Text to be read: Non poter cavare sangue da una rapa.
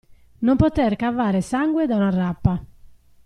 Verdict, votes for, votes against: accepted, 2, 0